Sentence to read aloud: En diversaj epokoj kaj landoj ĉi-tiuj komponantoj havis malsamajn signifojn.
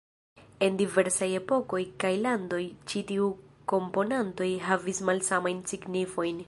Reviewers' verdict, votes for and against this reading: rejected, 0, 3